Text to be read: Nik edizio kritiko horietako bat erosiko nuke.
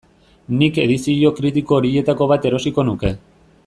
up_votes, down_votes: 2, 0